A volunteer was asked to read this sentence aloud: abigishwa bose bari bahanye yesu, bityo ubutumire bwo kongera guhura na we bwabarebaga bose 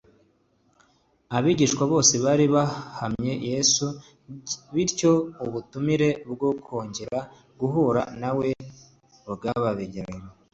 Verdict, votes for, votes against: rejected, 0, 2